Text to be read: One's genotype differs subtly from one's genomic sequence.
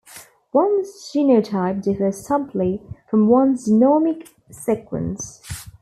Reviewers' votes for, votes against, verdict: 0, 2, rejected